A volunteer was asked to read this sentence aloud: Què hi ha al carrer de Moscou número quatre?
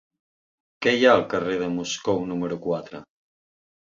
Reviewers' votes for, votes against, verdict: 2, 0, accepted